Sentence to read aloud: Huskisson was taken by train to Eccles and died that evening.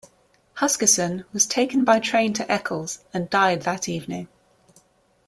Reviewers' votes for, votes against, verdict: 2, 0, accepted